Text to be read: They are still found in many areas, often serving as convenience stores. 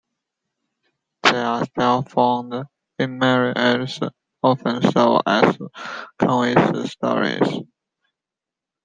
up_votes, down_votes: 0, 2